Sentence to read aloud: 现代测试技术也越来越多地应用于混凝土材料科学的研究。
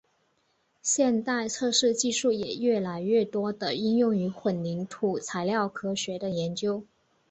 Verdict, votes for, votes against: accepted, 4, 3